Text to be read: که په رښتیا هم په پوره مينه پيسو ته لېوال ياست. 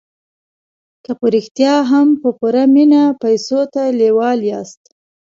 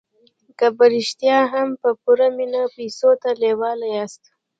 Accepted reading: first